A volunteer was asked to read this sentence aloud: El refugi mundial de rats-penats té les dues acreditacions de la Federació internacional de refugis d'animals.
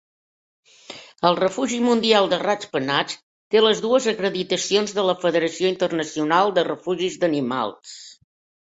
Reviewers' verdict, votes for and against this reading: accepted, 3, 0